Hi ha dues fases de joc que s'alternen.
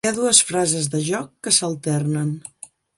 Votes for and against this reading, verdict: 1, 2, rejected